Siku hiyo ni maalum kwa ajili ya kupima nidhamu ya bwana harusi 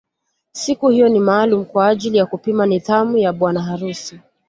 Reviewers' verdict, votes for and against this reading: accepted, 2, 0